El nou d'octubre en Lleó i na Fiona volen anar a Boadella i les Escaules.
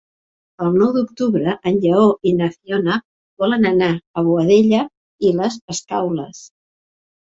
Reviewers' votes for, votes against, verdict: 3, 0, accepted